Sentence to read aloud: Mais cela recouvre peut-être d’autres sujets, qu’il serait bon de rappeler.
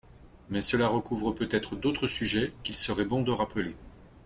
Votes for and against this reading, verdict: 2, 0, accepted